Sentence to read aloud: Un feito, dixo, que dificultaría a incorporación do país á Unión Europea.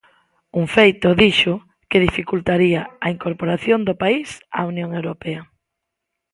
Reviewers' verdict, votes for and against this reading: accepted, 2, 0